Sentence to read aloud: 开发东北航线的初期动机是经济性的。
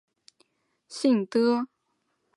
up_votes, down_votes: 1, 2